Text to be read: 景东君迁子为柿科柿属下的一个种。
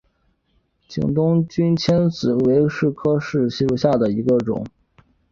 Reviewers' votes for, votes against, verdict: 2, 0, accepted